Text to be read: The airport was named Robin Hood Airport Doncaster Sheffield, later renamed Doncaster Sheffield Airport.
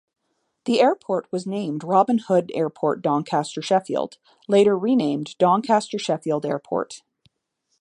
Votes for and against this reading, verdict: 2, 0, accepted